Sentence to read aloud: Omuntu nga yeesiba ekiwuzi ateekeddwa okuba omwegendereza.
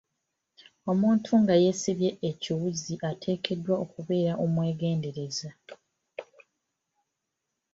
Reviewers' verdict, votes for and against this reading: accepted, 2, 0